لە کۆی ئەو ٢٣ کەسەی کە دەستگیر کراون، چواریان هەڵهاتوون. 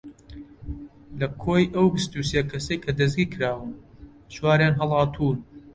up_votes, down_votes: 0, 2